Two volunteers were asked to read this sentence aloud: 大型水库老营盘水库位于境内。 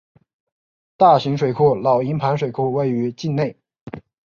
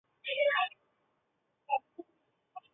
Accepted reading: first